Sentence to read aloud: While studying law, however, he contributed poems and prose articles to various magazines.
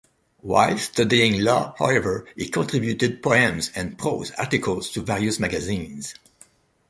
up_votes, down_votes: 2, 0